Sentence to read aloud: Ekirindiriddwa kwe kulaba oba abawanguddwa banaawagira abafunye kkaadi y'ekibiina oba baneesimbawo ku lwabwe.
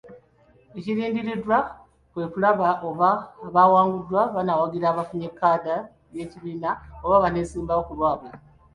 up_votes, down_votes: 2, 0